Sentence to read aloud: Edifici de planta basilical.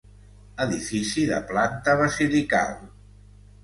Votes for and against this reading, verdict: 2, 0, accepted